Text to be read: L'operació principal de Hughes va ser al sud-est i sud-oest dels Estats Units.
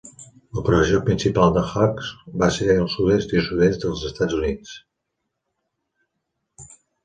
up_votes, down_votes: 1, 2